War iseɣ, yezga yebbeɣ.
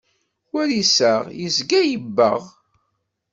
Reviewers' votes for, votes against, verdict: 2, 0, accepted